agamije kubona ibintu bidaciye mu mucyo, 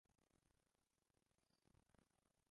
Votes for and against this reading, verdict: 0, 2, rejected